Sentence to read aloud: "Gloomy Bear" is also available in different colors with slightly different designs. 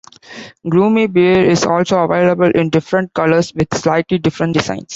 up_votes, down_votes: 1, 2